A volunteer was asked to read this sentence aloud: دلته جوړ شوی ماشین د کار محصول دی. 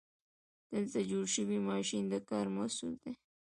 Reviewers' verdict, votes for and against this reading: accepted, 2, 0